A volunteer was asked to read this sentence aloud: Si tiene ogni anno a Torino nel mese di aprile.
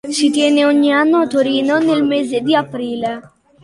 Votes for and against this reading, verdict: 2, 0, accepted